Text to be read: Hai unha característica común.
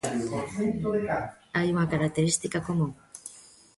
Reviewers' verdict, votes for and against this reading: accepted, 2, 1